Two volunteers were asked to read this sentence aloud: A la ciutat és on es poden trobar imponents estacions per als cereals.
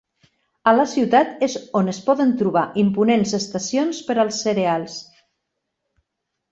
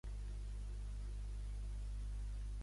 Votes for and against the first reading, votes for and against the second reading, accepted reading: 3, 0, 0, 3, first